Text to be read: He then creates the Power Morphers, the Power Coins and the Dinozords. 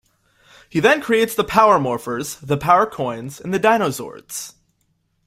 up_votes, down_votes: 2, 0